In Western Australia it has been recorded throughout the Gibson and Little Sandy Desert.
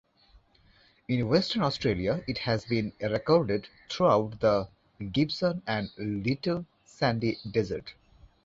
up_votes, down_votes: 2, 0